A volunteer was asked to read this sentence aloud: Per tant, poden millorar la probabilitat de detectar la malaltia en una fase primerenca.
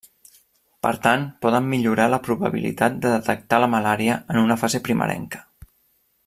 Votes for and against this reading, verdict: 0, 2, rejected